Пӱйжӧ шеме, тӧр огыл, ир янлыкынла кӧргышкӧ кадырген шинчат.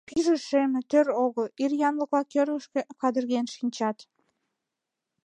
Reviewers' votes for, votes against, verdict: 2, 0, accepted